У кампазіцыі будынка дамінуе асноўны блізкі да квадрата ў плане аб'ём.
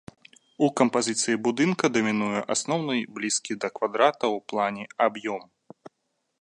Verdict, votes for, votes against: accepted, 2, 0